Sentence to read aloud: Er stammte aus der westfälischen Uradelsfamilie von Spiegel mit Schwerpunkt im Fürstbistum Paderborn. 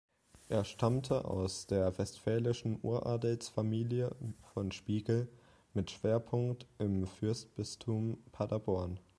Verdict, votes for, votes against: accepted, 2, 1